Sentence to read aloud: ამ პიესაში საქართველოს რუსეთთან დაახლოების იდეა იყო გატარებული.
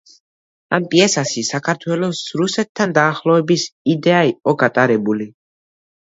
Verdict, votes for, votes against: accepted, 2, 0